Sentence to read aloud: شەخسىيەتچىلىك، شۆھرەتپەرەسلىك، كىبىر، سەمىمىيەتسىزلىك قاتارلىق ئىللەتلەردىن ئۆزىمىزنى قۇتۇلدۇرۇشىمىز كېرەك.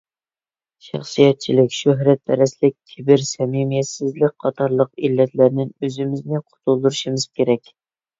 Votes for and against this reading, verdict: 2, 0, accepted